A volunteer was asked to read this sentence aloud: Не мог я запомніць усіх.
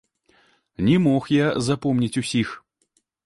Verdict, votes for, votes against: accepted, 2, 0